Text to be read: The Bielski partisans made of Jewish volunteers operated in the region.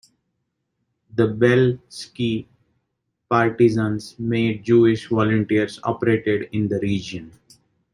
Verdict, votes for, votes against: rejected, 1, 2